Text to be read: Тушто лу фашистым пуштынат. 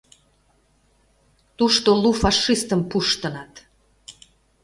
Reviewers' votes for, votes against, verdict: 1, 2, rejected